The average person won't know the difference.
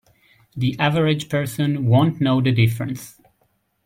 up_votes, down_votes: 2, 0